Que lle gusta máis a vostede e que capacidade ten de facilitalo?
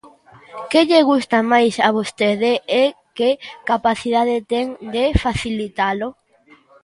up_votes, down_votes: 1, 2